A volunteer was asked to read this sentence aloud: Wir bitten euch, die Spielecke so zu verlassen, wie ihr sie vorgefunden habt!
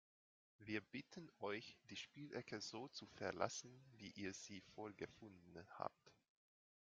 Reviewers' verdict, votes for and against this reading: accepted, 2, 0